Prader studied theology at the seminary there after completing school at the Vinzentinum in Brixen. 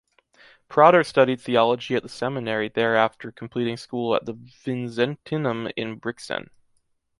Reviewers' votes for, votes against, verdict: 3, 0, accepted